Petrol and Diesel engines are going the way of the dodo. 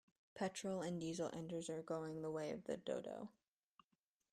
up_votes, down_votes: 1, 2